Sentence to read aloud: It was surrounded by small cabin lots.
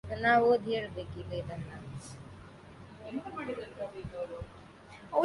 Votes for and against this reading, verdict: 0, 3, rejected